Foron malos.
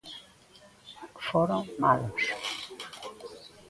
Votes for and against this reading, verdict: 1, 2, rejected